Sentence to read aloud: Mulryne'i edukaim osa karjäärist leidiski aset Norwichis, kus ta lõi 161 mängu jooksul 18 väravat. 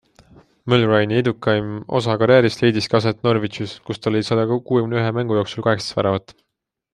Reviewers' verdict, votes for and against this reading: rejected, 0, 2